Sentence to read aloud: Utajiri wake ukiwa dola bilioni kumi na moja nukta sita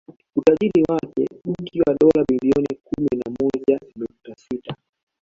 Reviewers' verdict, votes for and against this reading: rejected, 0, 2